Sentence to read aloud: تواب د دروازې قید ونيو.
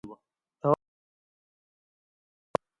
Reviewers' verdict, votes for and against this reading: rejected, 0, 2